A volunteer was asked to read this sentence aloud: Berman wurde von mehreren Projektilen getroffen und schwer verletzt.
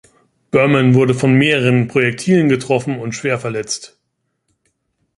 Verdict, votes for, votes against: accepted, 2, 0